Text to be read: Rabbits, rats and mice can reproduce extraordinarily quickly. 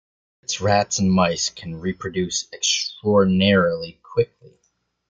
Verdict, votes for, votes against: rejected, 0, 2